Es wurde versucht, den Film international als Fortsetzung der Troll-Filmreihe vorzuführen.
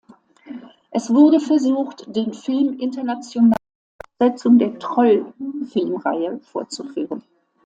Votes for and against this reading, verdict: 1, 2, rejected